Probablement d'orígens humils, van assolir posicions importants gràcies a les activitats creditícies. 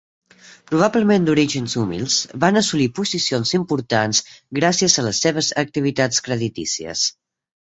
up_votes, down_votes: 0, 2